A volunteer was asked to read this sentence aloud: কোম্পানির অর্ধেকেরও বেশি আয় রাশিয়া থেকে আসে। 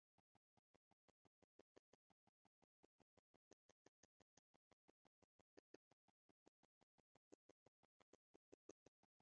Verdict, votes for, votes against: rejected, 0, 3